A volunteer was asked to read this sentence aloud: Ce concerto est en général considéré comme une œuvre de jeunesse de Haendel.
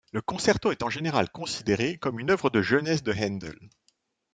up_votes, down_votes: 1, 2